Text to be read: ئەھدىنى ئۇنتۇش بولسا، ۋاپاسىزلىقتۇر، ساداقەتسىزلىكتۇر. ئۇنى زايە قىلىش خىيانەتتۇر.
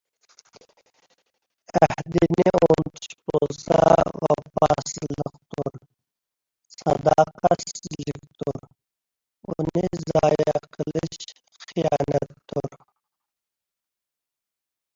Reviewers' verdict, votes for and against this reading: rejected, 1, 2